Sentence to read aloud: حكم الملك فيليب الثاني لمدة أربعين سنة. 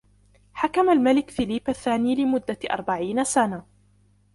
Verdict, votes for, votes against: accepted, 2, 0